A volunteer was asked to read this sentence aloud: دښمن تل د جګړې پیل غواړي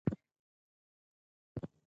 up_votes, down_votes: 2, 4